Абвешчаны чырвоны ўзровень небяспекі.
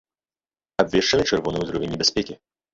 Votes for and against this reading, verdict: 0, 2, rejected